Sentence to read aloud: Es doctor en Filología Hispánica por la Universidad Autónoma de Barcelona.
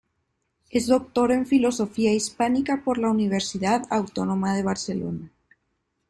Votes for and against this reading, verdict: 0, 2, rejected